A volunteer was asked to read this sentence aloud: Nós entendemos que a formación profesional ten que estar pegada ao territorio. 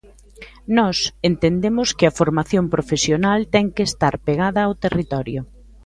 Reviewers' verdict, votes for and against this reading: accepted, 2, 0